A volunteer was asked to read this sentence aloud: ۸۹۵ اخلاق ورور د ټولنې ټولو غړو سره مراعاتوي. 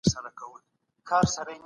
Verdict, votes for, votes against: rejected, 0, 2